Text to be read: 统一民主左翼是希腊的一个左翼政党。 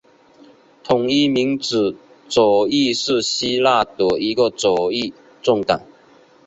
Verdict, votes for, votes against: accepted, 2, 1